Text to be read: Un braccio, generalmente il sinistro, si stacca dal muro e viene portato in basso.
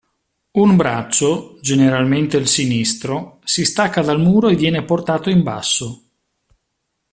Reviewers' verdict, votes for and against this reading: accepted, 2, 0